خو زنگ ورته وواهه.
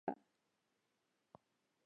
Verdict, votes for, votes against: rejected, 0, 2